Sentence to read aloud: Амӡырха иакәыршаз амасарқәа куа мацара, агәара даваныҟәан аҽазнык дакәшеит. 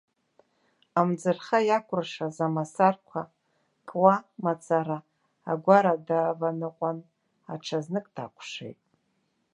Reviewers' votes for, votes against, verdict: 1, 2, rejected